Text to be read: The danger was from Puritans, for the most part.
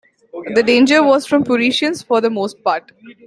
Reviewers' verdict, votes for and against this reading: rejected, 0, 2